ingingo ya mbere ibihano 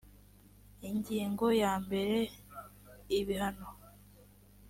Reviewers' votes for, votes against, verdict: 2, 0, accepted